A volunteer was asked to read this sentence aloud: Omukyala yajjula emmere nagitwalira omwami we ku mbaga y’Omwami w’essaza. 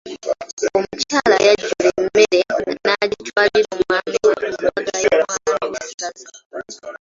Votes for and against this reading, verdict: 1, 2, rejected